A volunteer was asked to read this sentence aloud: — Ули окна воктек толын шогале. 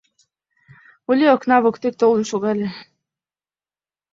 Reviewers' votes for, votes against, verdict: 2, 1, accepted